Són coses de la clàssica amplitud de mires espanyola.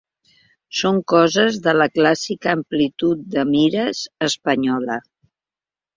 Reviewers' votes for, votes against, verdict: 2, 0, accepted